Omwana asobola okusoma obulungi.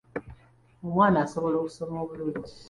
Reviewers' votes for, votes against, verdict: 2, 0, accepted